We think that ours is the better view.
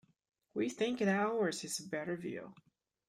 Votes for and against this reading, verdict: 1, 2, rejected